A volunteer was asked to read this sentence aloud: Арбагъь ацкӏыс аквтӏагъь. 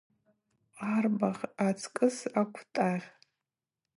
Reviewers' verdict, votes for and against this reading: accepted, 2, 0